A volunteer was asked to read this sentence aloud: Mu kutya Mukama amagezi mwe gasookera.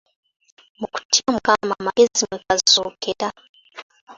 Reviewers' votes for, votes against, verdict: 2, 0, accepted